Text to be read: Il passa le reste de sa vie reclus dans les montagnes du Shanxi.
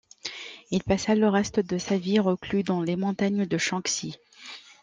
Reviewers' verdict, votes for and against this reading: rejected, 1, 2